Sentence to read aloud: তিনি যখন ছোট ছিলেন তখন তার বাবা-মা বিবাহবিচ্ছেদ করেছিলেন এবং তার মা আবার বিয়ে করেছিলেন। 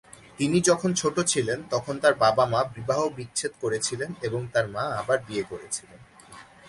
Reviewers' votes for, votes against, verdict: 2, 0, accepted